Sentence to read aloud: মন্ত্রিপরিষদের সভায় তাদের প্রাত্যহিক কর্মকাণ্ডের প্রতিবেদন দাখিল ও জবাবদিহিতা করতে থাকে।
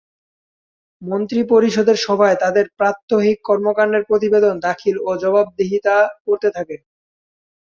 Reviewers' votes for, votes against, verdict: 2, 0, accepted